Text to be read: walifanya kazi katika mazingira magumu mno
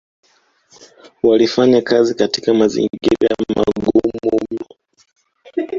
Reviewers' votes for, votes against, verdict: 2, 0, accepted